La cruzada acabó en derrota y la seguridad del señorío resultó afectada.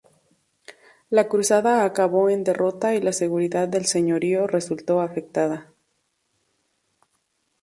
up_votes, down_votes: 2, 0